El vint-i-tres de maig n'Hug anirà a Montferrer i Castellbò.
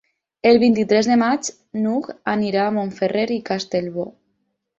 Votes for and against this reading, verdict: 6, 0, accepted